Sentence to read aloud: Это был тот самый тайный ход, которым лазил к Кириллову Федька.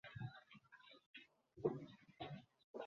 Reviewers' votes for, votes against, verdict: 0, 2, rejected